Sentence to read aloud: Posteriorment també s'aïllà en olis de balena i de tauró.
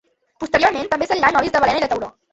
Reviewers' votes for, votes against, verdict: 1, 2, rejected